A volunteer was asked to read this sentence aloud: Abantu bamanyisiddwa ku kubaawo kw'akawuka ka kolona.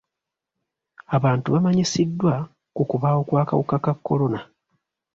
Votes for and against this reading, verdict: 0, 2, rejected